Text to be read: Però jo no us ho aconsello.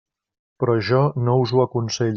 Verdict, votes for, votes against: rejected, 1, 2